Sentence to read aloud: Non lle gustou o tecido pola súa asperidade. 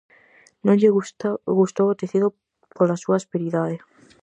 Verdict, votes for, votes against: rejected, 0, 4